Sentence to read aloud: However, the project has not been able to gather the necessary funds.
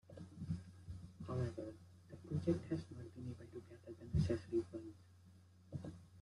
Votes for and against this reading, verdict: 0, 2, rejected